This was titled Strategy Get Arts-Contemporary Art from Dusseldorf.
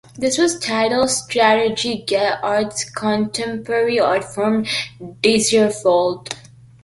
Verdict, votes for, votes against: rejected, 0, 2